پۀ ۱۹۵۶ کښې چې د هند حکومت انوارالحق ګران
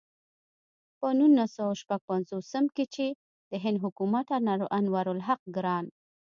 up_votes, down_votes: 0, 2